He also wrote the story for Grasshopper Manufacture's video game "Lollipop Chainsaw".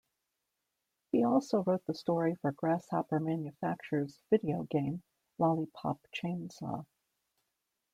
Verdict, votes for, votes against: accepted, 2, 0